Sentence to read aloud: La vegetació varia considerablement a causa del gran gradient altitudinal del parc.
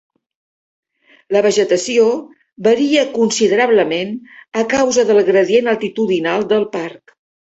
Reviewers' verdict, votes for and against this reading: rejected, 1, 2